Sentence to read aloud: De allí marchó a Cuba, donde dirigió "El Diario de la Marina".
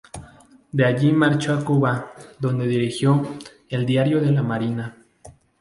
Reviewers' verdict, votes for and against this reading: accepted, 2, 0